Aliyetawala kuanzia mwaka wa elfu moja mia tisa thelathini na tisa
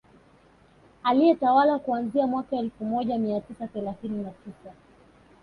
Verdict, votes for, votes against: accepted, 2, 1